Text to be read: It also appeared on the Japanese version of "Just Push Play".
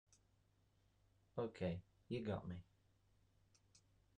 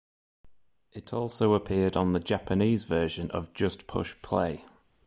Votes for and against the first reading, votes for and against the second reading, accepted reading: 0, 2, 2, 0, second